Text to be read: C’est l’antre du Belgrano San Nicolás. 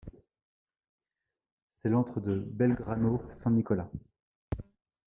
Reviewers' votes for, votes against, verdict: 2, 0, accepted